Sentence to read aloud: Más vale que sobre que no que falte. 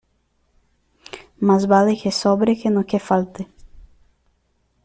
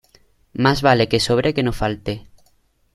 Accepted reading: first